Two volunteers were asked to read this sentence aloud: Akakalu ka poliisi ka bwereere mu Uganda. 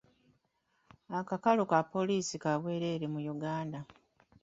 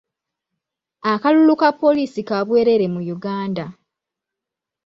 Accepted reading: first